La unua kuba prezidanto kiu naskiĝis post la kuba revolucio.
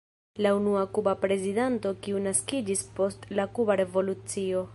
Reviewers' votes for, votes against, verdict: 1, 2, rejected